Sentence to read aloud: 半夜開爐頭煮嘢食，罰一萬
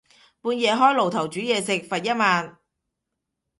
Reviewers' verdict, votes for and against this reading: accepted, 2, 0